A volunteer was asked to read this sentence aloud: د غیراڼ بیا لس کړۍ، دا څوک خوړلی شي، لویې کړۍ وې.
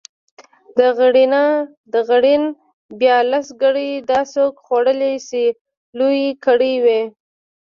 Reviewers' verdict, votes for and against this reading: rejected, 0, 2